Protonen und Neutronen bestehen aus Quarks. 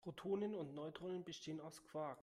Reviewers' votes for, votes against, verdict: 1, 2, rejected